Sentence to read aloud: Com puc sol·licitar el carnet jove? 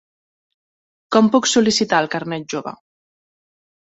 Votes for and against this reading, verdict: 3, 0, accepted